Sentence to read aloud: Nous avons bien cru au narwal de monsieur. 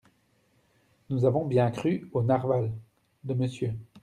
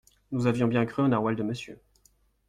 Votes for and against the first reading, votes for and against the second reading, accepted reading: 1, 2, 2, 0, second